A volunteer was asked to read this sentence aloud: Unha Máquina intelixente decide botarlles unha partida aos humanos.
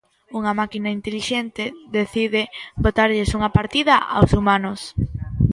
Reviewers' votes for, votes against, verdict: 2, 0, accepted